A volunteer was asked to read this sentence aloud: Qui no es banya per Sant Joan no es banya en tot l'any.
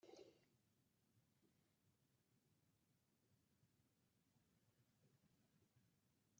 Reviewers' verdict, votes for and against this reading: rejected, 0, 2